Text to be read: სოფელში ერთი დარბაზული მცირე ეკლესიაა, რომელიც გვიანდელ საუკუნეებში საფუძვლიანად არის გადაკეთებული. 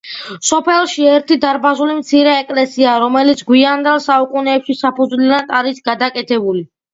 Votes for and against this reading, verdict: 2, 0, accepted